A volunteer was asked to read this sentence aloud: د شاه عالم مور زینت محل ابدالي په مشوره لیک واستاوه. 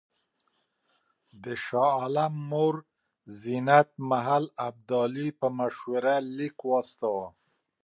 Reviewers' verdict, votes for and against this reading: accepted, 2, 0